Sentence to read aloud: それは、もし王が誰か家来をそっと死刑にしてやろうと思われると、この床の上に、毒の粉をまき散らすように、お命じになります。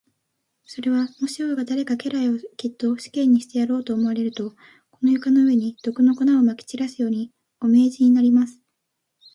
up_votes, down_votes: 3, 0